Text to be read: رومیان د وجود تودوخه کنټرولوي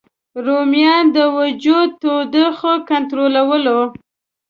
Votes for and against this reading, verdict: 1, 2, rejected